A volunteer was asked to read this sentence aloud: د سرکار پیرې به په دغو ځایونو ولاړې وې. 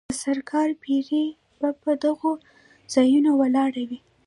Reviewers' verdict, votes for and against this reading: rejected, 0, 2